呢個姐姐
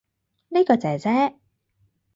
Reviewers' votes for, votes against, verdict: 4, 0, accepted